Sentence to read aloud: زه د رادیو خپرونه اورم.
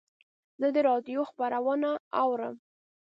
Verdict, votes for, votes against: accepted, 2, 0